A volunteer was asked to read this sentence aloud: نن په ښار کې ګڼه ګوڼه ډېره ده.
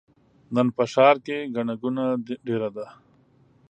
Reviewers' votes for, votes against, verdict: 2, 0, accepted